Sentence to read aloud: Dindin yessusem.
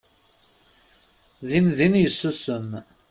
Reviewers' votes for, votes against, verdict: 2, 0, accepted